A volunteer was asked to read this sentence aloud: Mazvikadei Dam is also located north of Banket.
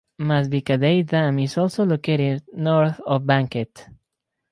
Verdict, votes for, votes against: accepted, 4, 0